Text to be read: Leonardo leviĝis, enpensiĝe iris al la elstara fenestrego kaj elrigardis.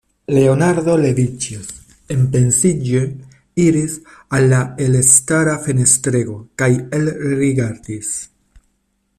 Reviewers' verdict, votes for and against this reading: rejected, 1, 2